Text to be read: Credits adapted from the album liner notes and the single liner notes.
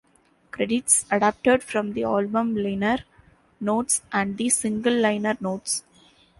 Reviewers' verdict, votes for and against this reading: rejected, 1, 2